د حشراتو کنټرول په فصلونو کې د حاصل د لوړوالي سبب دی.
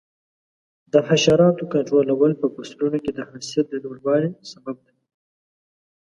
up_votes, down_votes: 1, 2